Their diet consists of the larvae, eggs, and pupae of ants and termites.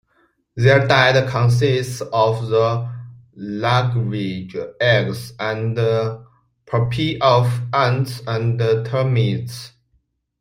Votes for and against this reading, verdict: 1, 2, rejected